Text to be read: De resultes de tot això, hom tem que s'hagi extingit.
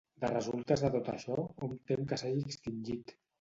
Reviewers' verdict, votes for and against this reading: rejected, 1, 2